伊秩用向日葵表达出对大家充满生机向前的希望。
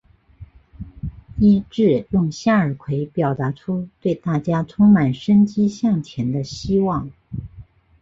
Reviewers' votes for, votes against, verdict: 2, 1, accepted